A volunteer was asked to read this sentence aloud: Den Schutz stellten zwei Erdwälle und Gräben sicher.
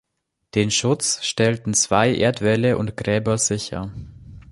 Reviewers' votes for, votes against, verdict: 0, 2, rejected